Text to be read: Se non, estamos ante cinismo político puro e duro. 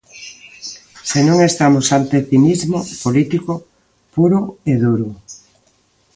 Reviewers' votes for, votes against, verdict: 2, 0, accepted